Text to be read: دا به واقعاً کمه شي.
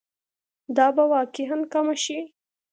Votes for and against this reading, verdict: 2, 0, accepted